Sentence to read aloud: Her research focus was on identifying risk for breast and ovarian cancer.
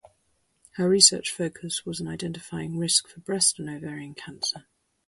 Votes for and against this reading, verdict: 4, 0, accepted